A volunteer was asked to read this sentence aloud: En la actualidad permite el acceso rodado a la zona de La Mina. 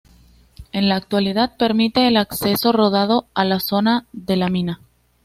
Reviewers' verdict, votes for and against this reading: accepted, 2, 0